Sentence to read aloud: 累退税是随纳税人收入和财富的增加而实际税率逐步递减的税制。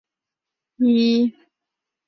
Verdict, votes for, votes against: rejected, 0, 4